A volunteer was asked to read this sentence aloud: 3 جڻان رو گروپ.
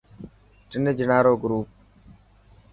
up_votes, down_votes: 0, 2